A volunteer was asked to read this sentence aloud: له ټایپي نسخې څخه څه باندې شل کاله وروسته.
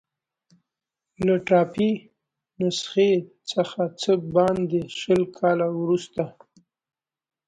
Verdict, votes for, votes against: accepted, 2, 0